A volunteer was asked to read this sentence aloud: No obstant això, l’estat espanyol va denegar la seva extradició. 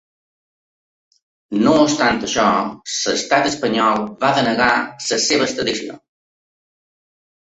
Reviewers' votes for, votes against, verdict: 1, 2, rejected